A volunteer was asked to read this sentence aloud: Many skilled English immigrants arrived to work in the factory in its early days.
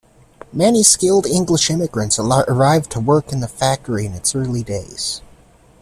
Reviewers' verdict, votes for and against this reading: rejected, 0, 2